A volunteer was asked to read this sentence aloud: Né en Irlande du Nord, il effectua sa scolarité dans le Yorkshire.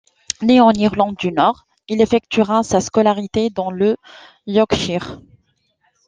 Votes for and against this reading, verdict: 0, 2, rejected